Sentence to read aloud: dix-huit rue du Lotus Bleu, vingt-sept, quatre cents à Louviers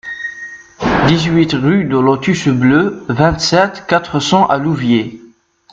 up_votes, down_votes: 0, 2